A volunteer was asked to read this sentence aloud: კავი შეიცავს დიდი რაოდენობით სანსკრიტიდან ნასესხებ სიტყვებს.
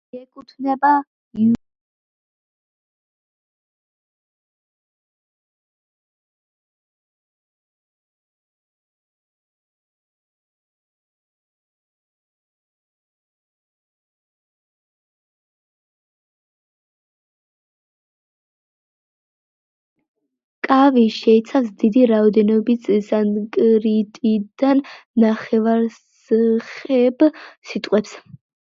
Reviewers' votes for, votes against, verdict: 0, 2, rejected